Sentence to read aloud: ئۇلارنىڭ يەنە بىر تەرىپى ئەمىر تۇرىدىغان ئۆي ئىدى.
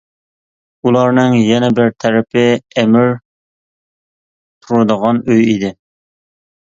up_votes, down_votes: 2, 0